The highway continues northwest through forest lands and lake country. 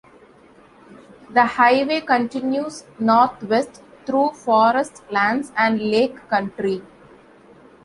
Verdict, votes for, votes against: accepted, 2, 0